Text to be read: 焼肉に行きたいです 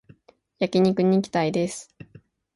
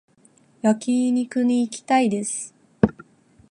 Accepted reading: first